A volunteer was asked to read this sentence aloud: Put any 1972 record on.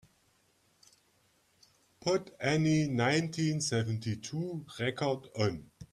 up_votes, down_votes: 0, 2